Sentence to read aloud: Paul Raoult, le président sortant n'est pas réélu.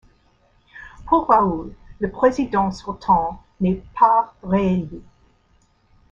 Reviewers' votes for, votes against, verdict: 2, 0, accepted